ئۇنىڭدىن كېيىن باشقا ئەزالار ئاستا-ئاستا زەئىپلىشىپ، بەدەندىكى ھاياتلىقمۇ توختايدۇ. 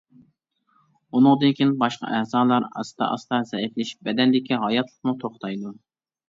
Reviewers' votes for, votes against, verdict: 2, 0, accepted